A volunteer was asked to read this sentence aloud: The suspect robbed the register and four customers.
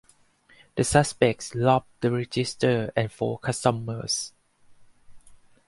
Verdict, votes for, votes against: rejected, 0, 4